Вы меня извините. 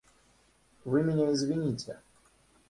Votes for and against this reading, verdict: 1, 2, rejected